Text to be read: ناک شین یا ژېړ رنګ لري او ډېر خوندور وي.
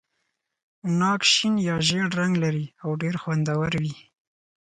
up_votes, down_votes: 4, 0